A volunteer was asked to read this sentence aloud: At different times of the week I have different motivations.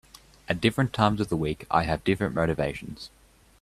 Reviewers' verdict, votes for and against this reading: accepted, 3, 0